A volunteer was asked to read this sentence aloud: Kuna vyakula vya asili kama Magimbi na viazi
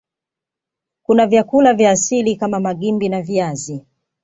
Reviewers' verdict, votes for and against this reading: rejected, 0, 2